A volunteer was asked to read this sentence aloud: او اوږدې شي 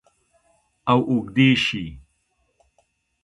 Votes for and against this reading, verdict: 2, 0, accepted